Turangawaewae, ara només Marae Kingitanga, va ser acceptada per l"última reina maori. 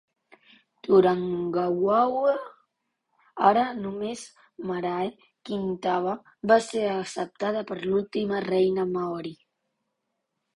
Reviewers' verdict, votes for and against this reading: rejected, 0, 2